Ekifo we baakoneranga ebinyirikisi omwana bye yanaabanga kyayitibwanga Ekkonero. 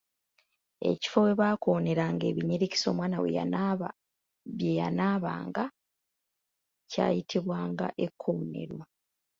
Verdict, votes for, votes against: rejected, 2, 3